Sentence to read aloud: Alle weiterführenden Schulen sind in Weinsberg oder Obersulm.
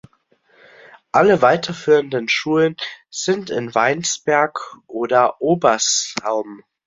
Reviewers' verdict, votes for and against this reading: rejected, 0, 2